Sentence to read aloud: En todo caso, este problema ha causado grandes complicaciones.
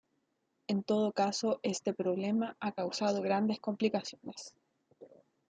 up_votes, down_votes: 2, 1